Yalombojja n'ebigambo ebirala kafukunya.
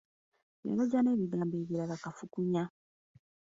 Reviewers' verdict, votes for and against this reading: rejected, 0, 2